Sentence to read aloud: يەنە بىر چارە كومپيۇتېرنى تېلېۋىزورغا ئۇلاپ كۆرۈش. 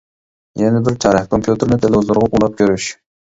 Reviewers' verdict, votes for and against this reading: rejected, 0, 2